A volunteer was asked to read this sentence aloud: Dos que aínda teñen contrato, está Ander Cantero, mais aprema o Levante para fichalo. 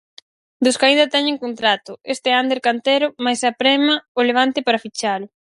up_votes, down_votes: 2, 4